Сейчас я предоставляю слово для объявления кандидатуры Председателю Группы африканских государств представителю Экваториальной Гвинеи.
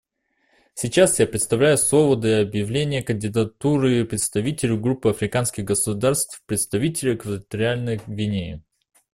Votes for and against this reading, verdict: 1, 2, rejected